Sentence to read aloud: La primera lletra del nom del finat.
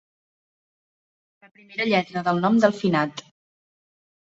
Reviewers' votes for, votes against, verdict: 0, 2, rejected